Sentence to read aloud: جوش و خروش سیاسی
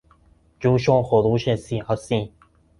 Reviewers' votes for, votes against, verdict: 2, 0, accepted